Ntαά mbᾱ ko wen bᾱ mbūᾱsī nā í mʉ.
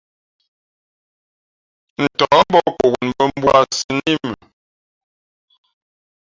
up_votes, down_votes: 1, 2